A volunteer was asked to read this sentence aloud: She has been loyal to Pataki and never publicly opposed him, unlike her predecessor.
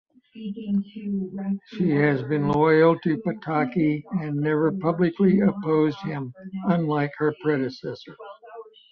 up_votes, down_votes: 4, 1